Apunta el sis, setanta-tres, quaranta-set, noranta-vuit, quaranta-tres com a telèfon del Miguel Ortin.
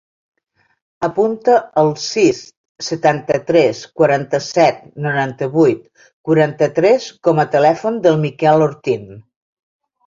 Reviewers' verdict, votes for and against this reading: rejected, 0, 2